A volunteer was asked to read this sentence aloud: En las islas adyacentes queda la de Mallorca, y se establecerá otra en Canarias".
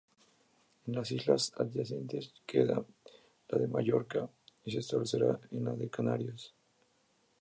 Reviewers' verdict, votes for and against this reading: rejected, 0, 2